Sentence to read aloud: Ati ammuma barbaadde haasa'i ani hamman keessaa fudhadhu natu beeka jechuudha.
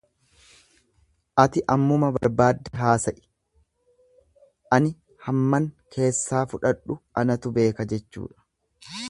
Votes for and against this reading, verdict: 1, 2, rejected